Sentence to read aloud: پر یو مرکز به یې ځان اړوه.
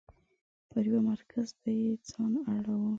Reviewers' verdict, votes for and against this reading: accepted, 2, 0